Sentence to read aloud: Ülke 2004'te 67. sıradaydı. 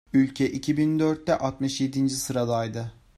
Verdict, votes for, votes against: rejected, 0, 2